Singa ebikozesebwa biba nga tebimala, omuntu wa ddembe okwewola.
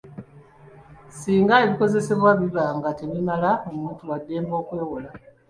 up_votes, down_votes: 2, 1